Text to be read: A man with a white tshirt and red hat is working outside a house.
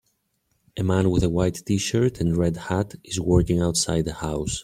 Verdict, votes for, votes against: accepted, 2, 0